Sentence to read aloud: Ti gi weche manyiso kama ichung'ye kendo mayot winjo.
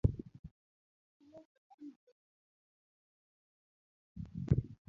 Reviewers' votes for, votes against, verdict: 1, 2, rejected